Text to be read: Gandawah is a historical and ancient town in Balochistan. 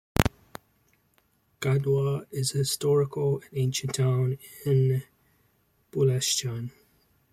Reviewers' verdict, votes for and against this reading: rejected, 1, 2